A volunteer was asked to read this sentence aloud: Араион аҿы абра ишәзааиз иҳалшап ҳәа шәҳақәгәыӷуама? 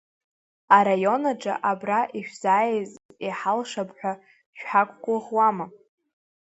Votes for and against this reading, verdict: 3, 0, accepted